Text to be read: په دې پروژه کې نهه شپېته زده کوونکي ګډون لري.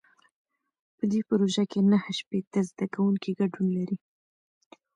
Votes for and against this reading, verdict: 2, 0, accepted